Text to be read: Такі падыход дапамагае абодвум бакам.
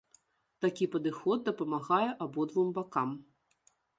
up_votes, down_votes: 2, 0